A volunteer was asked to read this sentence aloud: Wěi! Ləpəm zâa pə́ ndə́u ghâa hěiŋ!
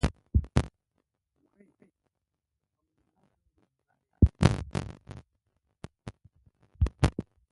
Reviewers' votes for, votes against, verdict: 0, 2, rejected